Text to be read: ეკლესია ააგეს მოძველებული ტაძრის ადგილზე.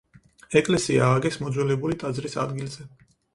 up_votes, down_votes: 4, 0